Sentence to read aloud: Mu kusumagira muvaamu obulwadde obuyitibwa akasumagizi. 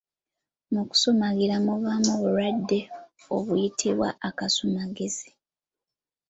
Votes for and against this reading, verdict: 2, 0, accepted